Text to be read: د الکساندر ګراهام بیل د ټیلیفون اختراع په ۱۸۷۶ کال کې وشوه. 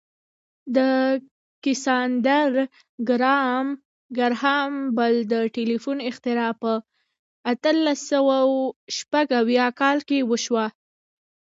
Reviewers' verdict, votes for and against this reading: rejected, 0, 2